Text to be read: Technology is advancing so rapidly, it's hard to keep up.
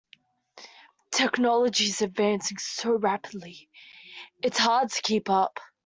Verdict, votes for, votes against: rejected, 0, 2